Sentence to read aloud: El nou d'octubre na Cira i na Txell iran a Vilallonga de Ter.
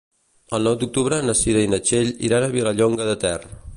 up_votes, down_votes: 2, 0